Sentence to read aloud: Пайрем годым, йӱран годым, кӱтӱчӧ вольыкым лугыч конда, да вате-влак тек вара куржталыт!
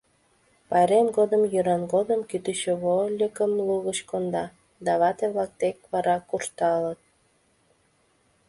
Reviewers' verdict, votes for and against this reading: accepted, 2, 0